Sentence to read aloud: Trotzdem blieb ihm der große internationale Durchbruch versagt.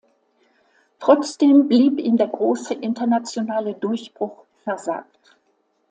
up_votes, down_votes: 2, 0